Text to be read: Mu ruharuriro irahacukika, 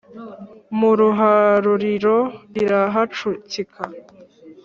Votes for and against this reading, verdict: 4, 0, accepted